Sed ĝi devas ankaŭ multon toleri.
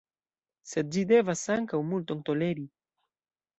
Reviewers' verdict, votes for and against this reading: rejected, 1, 2